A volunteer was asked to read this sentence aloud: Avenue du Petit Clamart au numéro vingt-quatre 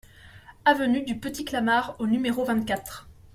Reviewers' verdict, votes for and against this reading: accepted, 2, 0